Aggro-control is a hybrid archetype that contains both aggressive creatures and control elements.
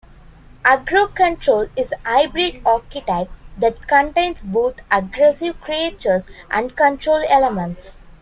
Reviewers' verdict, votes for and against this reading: rejected, 1, 2